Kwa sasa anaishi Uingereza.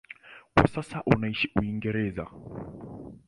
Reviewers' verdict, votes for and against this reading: rejected, 0, 2